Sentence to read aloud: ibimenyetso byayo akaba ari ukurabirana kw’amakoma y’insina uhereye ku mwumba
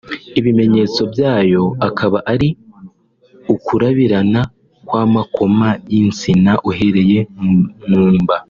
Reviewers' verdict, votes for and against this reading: rejected, 1, 2